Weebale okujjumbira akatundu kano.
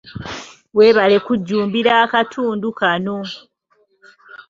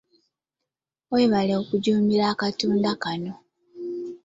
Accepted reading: second